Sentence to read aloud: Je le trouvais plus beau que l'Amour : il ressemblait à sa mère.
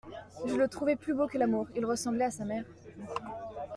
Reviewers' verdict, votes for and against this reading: accepted, 2, 1